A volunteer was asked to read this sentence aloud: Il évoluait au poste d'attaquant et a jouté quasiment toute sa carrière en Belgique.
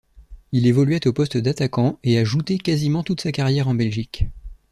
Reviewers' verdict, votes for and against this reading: accepted, 2, 0